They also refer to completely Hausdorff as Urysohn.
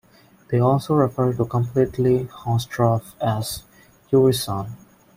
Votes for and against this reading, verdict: 1, 2, rejected